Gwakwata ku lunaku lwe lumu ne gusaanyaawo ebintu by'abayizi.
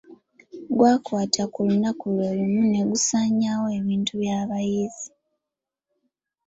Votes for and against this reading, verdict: 2, 0, accepted